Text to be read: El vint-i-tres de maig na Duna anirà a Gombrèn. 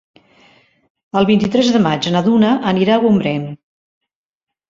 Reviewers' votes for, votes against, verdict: 3, 0, accepted